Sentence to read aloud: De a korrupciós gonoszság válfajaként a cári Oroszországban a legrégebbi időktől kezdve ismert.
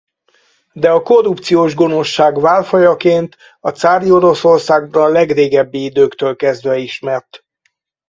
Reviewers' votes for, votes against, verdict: 2, 4, rejected